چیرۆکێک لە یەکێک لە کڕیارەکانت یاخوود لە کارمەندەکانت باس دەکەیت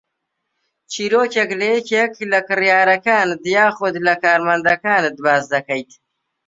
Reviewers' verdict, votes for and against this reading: rejected, 0, 2